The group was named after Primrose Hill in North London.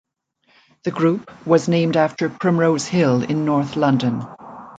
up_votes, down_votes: 2, 0